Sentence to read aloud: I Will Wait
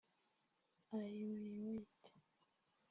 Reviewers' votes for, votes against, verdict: 0, 2, rejected